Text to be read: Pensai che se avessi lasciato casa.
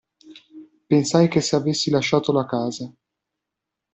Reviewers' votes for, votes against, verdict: 1, 2, rejected